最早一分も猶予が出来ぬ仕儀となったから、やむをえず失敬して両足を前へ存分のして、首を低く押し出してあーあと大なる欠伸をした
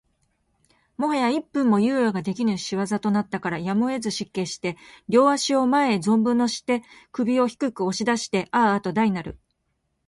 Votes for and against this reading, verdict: 0, 4, rejected